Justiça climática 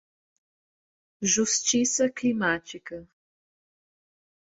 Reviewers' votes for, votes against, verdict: 2, 0, accepted